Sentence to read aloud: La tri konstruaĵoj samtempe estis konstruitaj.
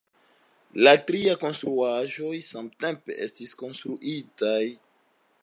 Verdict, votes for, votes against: accepted, 2, 1